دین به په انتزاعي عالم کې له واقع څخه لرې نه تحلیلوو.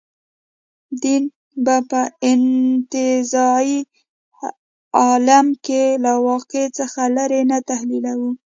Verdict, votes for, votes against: rejected, 1, 2